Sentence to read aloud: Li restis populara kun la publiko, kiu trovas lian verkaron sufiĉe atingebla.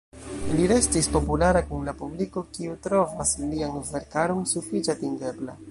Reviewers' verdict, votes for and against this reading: rejected, 1, 2